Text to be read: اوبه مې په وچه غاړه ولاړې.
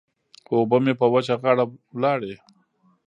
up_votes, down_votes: 1, 2